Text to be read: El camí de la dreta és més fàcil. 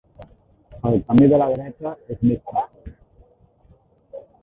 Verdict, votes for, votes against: rejected, 0, 2